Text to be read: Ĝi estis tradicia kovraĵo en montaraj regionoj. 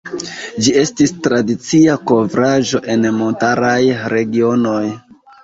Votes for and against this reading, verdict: 2, 0, accepted